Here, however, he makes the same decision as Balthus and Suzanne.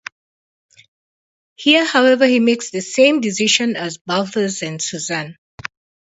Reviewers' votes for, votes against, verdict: 2, 2, rejected